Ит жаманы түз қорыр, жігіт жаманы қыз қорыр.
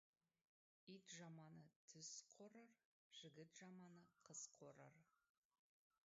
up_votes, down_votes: 0, 2